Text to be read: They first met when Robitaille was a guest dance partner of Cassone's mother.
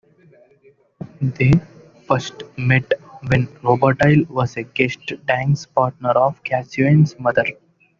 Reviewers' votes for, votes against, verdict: 0, 2, rejected